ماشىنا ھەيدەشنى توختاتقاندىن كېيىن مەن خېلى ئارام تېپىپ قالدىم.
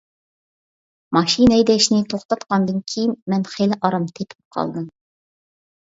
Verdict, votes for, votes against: accepted, 2, 0